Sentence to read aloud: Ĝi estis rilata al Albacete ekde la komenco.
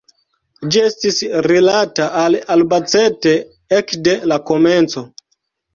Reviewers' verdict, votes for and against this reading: accepted, 3, 0